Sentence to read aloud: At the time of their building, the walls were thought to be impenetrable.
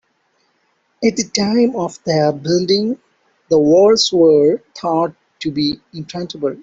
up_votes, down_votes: 0, 2